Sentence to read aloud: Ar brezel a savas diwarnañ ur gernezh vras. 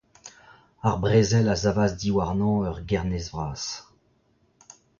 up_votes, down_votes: 0, 2